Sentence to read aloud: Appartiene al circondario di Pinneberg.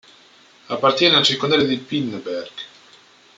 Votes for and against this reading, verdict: 0, 2, rejected